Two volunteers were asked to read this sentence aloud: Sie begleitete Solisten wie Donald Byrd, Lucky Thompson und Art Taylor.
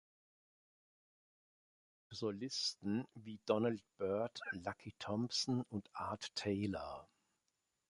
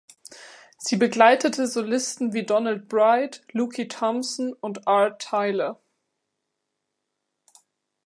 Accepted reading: second